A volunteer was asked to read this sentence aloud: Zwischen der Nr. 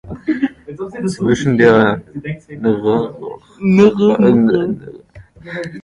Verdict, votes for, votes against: rejected, 0, 2